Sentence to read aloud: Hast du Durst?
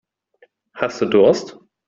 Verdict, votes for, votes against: accepted, 2, 0